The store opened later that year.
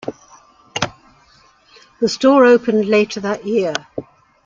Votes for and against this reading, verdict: 2, 0, accepted